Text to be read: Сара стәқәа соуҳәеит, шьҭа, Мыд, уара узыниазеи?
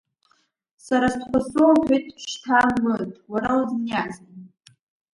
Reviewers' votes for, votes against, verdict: 2, 0, accepted